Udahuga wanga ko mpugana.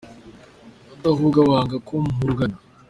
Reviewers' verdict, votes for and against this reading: accepted, 2, 1